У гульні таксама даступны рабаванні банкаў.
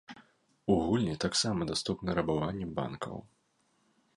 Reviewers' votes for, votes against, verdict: 1, 2, rejected